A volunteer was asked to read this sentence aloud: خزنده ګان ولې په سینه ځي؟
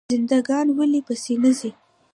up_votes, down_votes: 2, 0